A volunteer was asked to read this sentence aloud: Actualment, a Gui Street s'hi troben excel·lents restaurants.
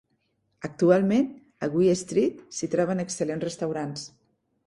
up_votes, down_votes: 0, 2